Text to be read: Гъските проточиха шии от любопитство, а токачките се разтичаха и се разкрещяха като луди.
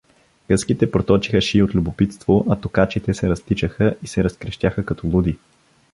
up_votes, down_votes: 1, 2